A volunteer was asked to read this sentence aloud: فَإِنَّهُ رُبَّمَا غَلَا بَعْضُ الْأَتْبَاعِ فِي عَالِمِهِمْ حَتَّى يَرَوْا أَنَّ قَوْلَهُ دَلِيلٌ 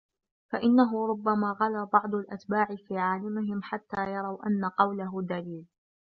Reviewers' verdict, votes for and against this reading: accepted, 2, 0